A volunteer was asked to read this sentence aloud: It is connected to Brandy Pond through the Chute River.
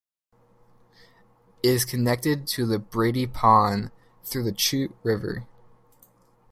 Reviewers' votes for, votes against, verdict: 0, 2, rejected